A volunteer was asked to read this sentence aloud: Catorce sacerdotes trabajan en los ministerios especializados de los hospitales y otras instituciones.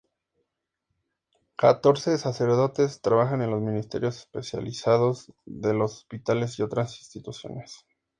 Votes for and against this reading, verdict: 2, 0, accepted